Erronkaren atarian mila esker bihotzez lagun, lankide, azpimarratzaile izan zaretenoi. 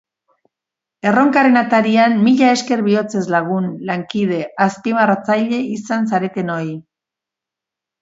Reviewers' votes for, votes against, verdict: 3, 0, accepted